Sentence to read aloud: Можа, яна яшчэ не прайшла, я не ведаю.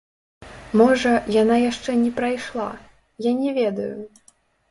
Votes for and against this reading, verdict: 1, 2, rejected